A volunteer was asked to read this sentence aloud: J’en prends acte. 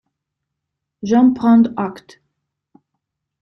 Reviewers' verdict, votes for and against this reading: accepted, 2, 0